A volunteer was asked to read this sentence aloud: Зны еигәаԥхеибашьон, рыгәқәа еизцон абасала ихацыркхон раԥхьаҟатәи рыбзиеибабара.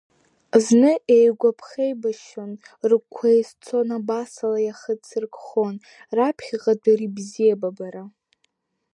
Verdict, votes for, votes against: rejected, 0, 2